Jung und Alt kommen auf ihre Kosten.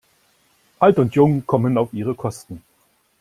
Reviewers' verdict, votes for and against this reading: rejected, 0, 2